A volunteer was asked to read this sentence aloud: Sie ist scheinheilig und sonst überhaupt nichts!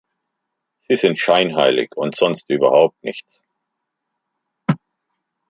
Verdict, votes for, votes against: rejected, 1, 2